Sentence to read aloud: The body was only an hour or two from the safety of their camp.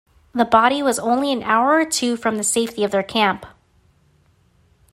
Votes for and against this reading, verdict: 3, 0, accepted